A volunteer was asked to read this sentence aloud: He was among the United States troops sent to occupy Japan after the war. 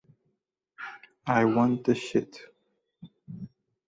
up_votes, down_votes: 0, 2